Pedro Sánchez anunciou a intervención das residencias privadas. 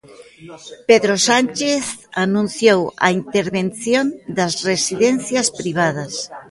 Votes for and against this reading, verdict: 2, 1, accepted